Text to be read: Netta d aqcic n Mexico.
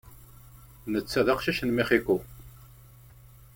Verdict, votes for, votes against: rejected, 1, 3